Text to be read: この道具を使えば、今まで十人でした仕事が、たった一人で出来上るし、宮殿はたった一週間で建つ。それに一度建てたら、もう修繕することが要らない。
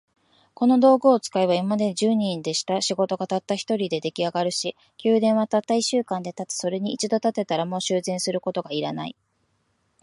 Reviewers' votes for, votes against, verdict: 3, 2, accepted